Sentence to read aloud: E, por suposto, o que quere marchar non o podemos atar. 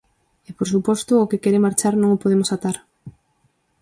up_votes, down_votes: 4, 0